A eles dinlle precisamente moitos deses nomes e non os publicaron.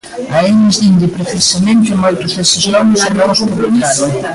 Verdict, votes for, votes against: rejected, 0, 2